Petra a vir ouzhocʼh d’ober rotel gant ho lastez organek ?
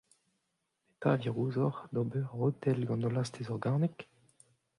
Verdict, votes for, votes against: rejected, 1, 2